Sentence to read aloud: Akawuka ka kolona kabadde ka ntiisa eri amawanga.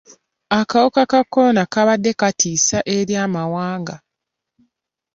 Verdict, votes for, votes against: rejected, 0, 2